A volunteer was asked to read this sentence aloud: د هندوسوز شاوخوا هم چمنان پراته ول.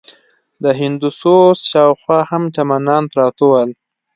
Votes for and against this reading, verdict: 2, 0, accepted